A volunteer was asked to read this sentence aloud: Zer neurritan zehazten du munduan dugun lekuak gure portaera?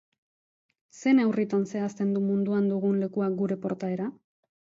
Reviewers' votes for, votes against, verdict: 1, 2, rejected